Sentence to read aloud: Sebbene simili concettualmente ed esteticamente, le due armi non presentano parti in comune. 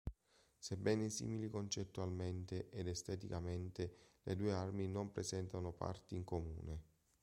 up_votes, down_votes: 2, 0